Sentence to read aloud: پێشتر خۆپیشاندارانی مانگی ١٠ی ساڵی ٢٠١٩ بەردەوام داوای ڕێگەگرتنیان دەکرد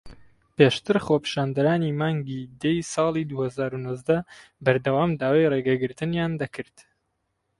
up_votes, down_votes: 0, 2